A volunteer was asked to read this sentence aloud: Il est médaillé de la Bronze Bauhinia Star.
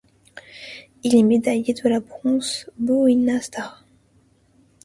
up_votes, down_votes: 0, 2